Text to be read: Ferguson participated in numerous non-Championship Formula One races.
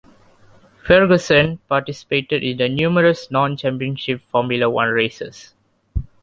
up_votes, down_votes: 1, 2